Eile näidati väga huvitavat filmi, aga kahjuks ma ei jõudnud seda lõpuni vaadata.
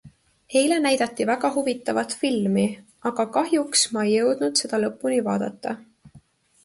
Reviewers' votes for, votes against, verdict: 2, 0, accepted